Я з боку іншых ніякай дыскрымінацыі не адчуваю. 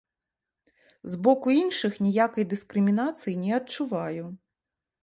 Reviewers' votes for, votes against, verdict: 1, 2, rejected